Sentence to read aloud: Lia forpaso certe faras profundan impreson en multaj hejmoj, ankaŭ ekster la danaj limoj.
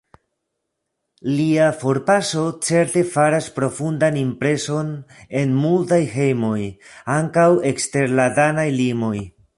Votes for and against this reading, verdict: 2, 0, accepted